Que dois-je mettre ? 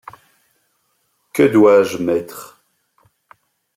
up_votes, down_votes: 3, 0